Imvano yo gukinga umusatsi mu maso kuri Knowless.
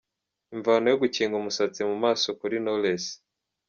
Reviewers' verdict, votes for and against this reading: accepted, 2, 0